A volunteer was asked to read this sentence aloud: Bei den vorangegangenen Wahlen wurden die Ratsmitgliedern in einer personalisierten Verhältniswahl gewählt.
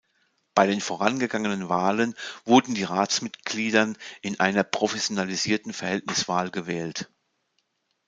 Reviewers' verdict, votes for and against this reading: rejected, 0, 2